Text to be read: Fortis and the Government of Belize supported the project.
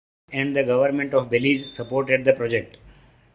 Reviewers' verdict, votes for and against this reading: rejected, 1, 2